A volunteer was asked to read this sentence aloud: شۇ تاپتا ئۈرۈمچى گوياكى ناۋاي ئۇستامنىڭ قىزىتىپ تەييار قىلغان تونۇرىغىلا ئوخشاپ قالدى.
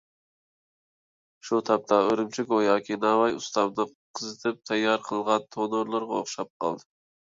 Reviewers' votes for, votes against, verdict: 1, 2, rejected